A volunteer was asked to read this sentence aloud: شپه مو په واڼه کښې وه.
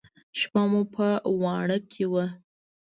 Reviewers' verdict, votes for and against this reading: accepted, 2, 0